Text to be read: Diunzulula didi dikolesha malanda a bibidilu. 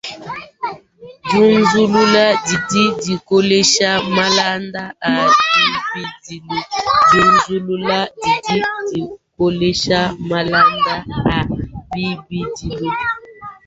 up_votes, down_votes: 0, 2